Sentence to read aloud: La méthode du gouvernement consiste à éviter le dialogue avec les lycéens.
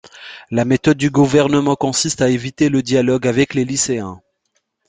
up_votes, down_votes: 2, 0